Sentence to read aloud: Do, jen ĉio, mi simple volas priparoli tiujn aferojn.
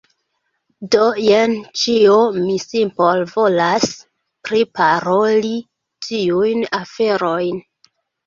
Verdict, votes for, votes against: rejected, 1, 2